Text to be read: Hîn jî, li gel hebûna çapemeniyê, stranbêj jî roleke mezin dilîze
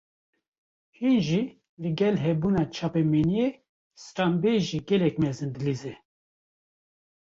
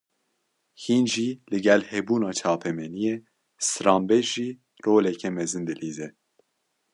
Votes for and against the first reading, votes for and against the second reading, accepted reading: 1, 2, 2, 0, second